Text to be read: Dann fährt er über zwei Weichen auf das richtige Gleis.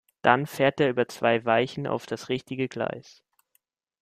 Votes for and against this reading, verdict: 2, 0, accepted